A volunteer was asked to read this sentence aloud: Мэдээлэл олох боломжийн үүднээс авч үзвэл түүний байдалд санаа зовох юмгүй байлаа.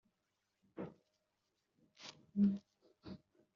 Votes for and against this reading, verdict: 0, 2, rejected